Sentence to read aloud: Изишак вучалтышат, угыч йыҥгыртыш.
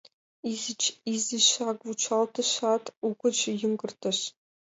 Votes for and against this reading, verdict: 1, 2, rejected